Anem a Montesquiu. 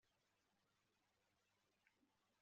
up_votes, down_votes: 0, 2